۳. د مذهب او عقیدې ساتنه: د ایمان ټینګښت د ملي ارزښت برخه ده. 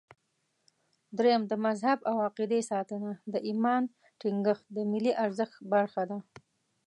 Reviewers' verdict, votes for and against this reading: rejected, 0, 2